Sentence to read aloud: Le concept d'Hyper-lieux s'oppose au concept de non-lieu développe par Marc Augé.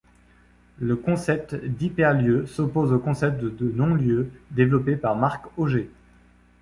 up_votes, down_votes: 2, 0